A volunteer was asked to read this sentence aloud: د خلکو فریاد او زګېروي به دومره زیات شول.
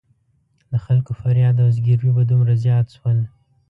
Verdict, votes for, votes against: rejected, 1, 2